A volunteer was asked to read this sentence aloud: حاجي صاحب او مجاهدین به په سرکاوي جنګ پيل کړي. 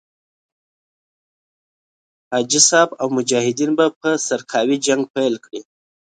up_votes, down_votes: 2, 0